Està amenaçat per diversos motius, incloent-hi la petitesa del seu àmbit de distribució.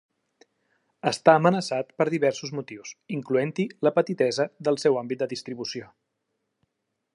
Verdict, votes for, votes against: accepted, 3, 0